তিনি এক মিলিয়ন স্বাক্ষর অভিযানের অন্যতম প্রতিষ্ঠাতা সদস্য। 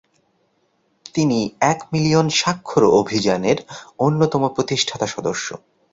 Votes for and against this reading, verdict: 2, 0, accepted